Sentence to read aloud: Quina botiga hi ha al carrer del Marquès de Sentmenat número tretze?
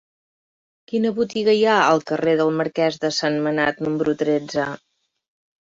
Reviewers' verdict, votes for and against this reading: accepted, 2, 0